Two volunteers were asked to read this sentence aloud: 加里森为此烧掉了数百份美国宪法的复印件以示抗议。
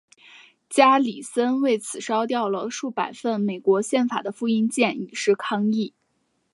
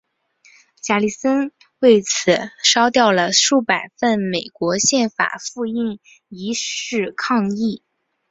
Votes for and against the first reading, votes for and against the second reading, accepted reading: 2, 2, 3, 1, second